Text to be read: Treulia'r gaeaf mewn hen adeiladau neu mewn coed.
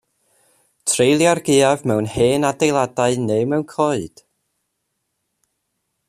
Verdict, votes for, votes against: accepted, 2, 0